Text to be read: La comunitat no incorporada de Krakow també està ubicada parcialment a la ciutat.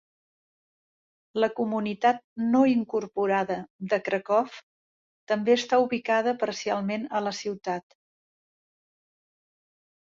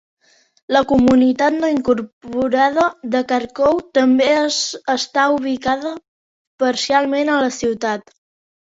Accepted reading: first